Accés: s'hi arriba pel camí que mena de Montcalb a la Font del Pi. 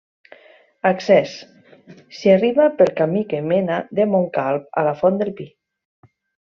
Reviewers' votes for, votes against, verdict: 2, 0, accepted